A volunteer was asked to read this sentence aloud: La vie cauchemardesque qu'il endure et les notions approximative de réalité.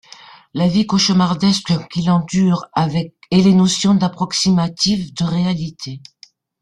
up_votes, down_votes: 0, 2